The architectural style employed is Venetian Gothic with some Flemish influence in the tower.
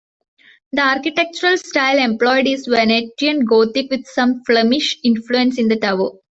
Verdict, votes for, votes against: rejected, 0, 2